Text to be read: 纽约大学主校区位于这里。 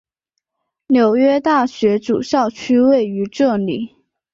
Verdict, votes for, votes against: accepted, 6, 0